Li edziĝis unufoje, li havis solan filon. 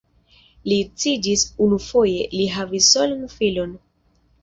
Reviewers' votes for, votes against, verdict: 2, 0, accepted